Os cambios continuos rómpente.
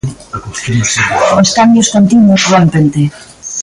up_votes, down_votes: 1, 2